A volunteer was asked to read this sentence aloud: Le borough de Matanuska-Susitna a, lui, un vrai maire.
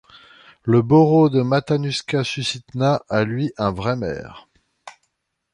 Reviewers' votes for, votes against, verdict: 2, 0, accepted